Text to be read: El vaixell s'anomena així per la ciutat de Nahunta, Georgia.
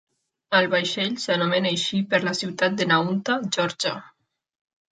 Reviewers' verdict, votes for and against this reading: accepted, 2, 0